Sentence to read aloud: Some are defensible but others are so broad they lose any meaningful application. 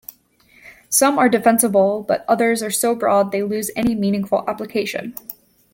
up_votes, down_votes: 0, 2